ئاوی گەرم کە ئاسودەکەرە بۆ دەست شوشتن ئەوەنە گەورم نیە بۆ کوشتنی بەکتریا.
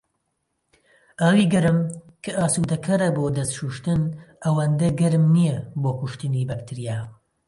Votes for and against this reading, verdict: 1, 2, rejected